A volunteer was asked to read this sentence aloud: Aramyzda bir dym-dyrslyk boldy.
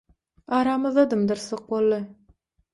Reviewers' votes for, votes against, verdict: 3, 6, rejected